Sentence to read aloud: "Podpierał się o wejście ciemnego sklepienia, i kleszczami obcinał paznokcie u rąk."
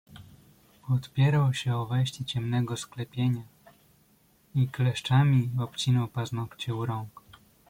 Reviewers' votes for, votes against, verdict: 2, 0, accepted